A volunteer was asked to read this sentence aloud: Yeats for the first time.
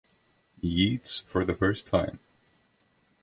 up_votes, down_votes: 2, 0